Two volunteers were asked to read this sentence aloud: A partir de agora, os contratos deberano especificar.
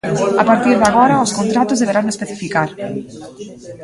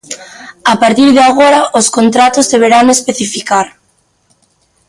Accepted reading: first